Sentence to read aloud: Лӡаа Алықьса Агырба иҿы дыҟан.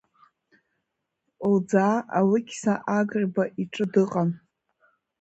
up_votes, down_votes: 1, 2